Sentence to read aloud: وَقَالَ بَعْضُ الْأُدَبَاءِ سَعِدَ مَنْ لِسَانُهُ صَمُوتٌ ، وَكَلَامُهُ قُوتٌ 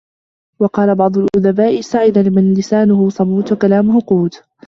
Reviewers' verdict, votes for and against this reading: rejected, 1, 3